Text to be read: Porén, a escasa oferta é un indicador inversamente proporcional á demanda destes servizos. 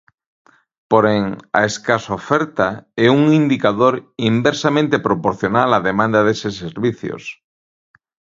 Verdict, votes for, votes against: rejected, 0, 2